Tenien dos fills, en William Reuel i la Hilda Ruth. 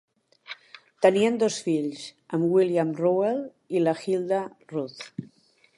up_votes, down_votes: 0, 2